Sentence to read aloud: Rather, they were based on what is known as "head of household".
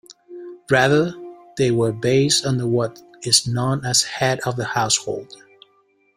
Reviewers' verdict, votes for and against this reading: rejected, 0, 2